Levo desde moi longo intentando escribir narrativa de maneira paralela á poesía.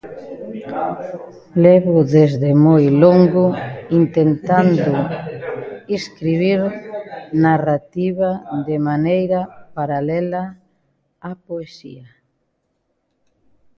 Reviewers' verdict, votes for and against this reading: accepted, 2, 0